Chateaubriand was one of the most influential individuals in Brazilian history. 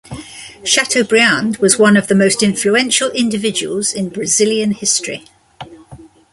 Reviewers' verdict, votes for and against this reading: rejected, 0, 2